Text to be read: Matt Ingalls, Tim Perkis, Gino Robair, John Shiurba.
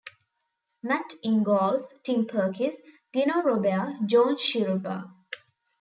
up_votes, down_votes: 2, 0